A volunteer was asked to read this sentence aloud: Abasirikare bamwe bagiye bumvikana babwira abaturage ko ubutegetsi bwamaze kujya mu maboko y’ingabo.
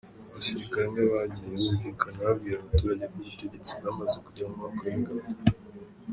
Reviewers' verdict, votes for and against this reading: accepted, 2, 0